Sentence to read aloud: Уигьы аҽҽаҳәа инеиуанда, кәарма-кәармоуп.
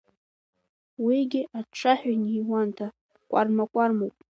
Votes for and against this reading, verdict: 2, 0, accepted